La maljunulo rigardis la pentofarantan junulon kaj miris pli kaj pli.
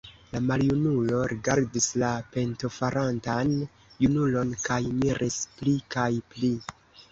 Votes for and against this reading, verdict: 1, 2, rejected